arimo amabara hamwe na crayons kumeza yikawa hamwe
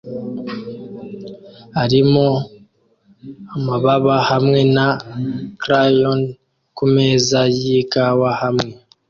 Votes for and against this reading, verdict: 0, 2, rejected